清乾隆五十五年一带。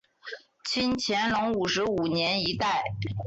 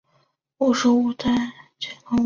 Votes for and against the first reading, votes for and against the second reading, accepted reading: 2, 0, 2, 3, first